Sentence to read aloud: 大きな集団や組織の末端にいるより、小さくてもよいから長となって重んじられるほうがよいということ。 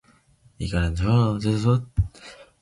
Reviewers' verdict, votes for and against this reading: rejected, 1, 2